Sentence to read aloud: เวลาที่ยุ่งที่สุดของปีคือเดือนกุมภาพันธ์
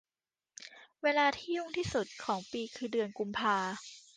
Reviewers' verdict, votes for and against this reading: rejected, 0, 2